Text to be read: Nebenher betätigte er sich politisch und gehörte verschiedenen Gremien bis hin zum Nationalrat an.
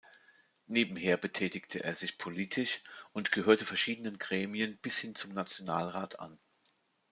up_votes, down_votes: 2, 0